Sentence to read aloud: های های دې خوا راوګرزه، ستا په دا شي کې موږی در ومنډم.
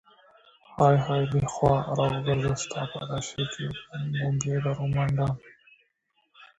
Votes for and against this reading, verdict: 0, 2, rejected